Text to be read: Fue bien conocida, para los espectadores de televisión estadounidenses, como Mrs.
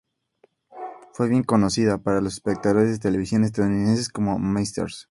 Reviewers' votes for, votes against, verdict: 4, 0, accepted